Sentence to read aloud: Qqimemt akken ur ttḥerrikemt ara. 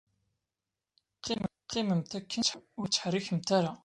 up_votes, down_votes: 1, 2